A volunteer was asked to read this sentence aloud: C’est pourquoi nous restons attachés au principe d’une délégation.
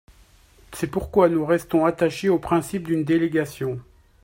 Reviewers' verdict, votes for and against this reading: accepted, 2, 0